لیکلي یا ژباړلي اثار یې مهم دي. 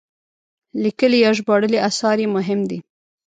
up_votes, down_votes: 1, 2